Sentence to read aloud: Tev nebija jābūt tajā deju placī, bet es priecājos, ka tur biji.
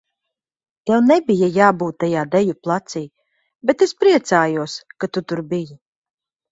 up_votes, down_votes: 0, 2